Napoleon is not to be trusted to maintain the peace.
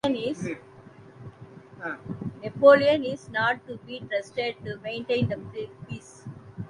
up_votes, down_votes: 0, 2